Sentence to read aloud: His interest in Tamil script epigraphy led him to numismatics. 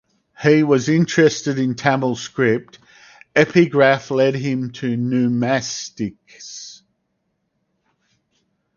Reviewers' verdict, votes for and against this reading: rejected, 0, 2